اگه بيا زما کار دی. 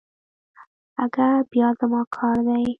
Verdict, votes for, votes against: rejected, 1, 2